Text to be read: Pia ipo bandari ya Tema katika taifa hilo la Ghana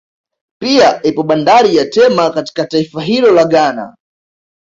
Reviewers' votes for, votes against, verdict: 2, 1, accepted